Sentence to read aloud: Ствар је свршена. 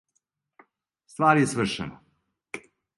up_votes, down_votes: 2, 0